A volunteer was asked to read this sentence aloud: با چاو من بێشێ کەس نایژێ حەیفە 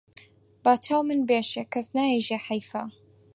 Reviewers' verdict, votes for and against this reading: accepted, 4, 0